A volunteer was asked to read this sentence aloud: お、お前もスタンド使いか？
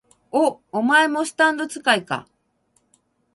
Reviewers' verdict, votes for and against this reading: accepted, 6, 0